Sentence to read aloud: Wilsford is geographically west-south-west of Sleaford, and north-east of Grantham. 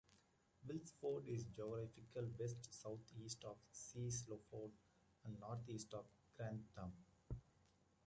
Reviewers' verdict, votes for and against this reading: rejected, 1, 2